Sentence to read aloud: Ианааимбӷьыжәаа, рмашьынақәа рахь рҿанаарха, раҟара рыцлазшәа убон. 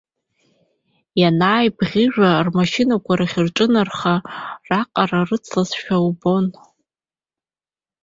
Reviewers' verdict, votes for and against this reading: rejected, 1, 2